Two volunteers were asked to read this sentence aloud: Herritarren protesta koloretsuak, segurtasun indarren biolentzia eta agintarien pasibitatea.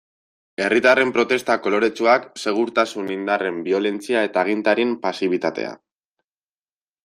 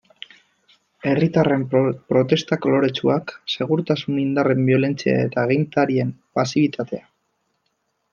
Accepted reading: first